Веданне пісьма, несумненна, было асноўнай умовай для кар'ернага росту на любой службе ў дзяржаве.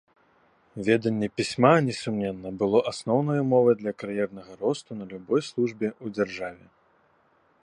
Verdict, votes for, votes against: accepted, 2, 0